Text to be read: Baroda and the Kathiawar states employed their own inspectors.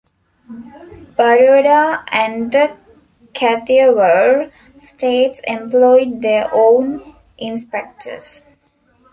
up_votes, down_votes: 0, 2